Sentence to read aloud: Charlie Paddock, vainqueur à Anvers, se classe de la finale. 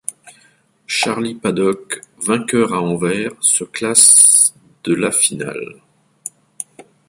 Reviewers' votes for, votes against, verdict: 1, 2, rejected